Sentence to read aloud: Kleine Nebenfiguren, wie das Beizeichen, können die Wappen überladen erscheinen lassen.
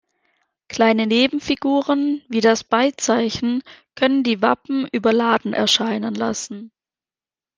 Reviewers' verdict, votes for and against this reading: accepted, 2, 0